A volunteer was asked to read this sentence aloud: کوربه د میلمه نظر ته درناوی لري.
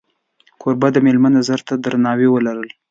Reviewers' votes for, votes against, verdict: 1, 2, rejected